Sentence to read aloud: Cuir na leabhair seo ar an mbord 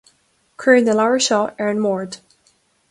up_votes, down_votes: 2, 0